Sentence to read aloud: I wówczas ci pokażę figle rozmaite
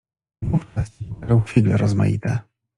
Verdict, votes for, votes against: rejected, 0, 2